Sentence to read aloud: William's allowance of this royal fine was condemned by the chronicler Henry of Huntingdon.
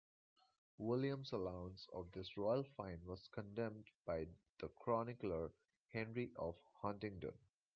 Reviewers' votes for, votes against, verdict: 2, 0, accepted